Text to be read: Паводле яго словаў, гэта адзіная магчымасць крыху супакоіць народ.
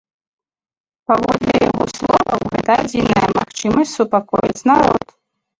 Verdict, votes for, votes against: rejected, 0, 5